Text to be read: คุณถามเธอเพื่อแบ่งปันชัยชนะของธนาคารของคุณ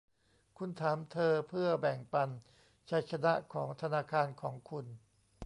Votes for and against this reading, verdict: 0, 2, rejected